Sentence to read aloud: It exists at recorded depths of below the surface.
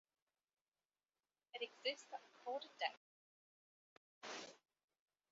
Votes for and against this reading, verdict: 0, 2, rejected